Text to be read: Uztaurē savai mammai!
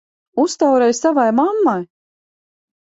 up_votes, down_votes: 2, 0